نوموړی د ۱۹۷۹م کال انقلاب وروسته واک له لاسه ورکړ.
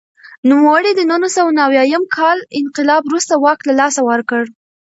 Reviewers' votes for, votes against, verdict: 0, 2, rejected